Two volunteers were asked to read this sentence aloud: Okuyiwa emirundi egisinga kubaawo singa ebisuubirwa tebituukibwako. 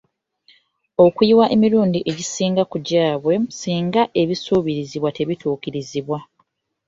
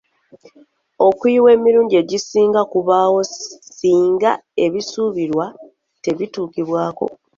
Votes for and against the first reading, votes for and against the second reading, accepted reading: 0, 2, 2, 0, second